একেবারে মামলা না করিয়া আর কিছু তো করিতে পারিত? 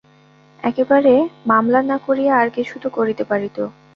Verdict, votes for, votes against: rejected, 0, 2